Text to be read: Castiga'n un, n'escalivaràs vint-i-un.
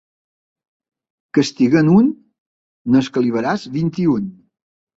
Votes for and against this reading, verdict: 2, 0, accepted